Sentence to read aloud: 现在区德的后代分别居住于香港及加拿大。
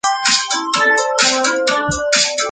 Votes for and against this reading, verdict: 0, 5, rejected